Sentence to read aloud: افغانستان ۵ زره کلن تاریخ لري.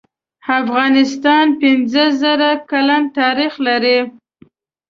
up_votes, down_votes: 0, 2